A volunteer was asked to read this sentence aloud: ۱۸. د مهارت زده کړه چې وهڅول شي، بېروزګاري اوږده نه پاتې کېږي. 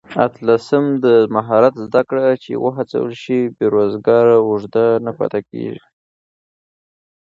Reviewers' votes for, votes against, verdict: 0, 2, rejected